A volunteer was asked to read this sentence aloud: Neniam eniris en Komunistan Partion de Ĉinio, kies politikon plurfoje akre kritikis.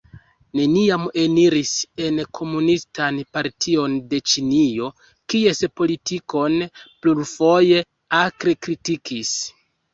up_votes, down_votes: 2, 0